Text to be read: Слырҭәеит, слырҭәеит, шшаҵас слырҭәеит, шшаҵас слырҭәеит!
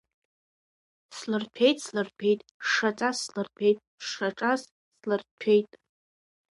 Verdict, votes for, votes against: rejected, 1, 2